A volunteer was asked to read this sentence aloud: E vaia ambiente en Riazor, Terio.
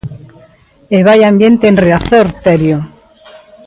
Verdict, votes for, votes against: accepted, 2, 0